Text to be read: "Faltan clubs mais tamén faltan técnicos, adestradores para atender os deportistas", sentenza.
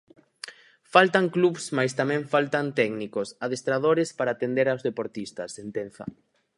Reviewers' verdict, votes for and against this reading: rejected, 0, 4